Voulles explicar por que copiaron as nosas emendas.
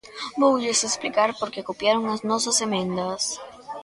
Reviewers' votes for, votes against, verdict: 2, 0, accepted